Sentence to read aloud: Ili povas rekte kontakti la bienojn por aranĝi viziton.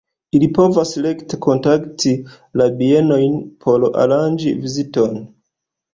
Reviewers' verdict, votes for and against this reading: accepted, 2, 1